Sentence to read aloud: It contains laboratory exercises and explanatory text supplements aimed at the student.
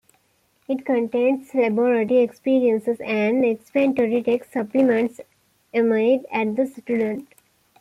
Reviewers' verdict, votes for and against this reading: rejected, 0, 2